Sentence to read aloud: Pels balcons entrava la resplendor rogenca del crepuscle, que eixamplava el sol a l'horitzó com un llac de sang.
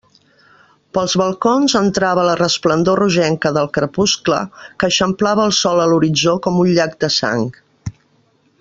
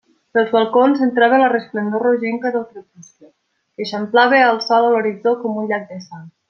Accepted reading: second